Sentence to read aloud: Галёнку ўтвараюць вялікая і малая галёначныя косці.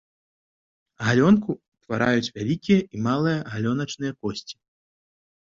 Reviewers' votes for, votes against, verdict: 0, 2, rejected